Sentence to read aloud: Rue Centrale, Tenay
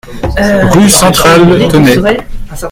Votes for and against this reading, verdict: 1, 2, rejected